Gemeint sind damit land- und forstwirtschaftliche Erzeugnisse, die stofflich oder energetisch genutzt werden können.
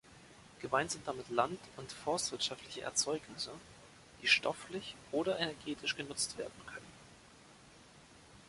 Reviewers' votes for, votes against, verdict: 3, 0, accepted